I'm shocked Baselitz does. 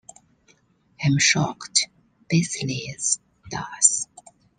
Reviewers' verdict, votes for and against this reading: accepted, 3, 0